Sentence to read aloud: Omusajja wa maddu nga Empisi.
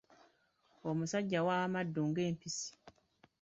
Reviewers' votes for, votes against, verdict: 0, 2, rejected